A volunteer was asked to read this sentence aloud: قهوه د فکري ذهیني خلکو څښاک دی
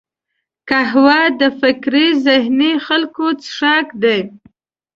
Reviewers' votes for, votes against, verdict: 2, 0, accepted